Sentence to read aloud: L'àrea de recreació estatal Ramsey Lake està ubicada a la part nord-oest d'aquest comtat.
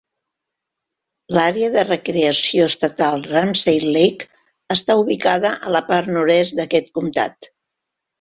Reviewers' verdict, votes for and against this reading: accepted, 2, 1